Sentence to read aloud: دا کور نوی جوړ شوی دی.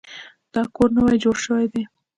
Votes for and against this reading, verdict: 3, 0, accepted